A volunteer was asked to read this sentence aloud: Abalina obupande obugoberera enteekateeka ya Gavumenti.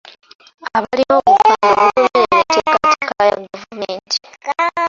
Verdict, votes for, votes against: rejected, 1, 2